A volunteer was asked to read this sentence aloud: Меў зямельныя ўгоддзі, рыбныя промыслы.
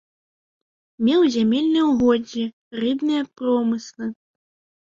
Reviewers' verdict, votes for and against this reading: accepted, 2, 0